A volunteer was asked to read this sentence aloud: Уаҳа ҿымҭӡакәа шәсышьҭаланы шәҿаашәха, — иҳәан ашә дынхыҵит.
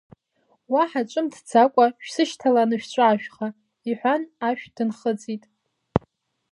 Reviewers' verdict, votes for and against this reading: rejected, 0, 2